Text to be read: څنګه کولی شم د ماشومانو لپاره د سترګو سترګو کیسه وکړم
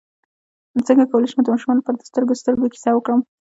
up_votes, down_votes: 0, 2